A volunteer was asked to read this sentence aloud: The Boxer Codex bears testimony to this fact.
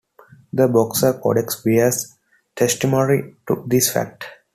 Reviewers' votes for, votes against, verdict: 2, 0, accepted